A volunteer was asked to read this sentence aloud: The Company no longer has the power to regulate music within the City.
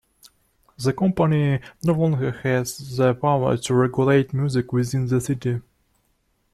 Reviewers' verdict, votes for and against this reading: accepted, 2, 0